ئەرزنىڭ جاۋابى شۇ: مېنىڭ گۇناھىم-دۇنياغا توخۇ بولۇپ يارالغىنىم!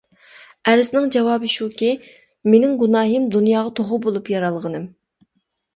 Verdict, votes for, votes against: rejected, 1, 2